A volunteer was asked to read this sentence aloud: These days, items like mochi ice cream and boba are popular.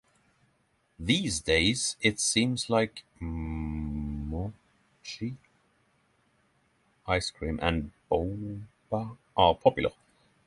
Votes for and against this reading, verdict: 0, 6, rejected